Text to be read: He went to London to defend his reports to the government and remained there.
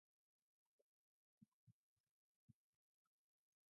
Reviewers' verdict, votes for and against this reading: rejected, 0, 2